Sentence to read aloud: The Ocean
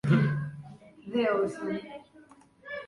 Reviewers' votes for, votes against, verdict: 0, 2, rejected